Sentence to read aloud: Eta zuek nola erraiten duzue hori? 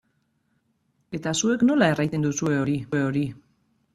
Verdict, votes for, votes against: rejected, 0, 2